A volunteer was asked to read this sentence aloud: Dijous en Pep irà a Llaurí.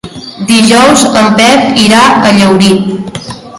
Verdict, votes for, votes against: accepted, 2, 1